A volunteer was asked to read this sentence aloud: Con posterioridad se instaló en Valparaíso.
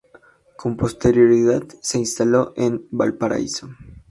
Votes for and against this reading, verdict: 2, 0, accepted